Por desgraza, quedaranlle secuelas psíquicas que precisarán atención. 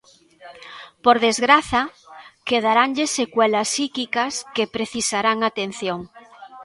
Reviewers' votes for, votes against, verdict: 2, 1, accepted